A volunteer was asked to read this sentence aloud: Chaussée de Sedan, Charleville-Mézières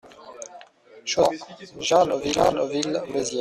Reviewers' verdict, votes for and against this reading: rejected, 0, 2